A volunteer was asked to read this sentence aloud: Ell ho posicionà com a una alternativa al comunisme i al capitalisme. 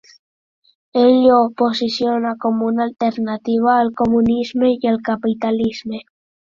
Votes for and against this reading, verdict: 2, 0, accepted